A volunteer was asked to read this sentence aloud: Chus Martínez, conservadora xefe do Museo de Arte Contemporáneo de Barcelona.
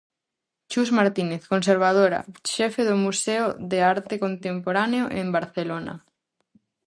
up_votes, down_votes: 0, 4